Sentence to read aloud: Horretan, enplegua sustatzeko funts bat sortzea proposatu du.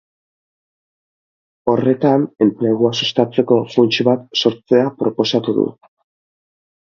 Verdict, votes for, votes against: accepted, 4, 0